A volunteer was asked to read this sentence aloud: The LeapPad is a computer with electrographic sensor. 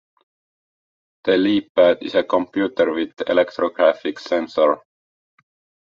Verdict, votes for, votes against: accepted, 2, 0